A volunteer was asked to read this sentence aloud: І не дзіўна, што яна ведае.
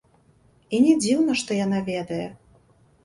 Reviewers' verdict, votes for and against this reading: rejected, 1, 2